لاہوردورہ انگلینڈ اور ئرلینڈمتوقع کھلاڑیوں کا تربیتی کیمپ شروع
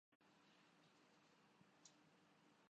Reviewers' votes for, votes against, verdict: 1, 3, rejected